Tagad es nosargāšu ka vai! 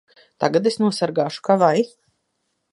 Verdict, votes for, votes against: accepted, 2, 0